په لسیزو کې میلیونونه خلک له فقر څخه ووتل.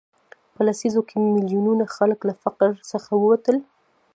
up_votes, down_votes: 1, 2